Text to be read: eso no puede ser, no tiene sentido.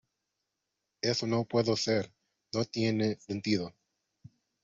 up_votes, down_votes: 1, 2